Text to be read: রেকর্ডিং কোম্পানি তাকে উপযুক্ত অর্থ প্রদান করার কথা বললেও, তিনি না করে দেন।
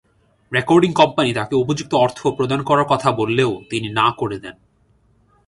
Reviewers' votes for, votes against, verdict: 2, 0, accepted